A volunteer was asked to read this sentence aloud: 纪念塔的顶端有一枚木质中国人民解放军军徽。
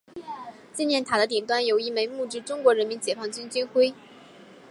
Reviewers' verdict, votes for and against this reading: accepted, 4, 0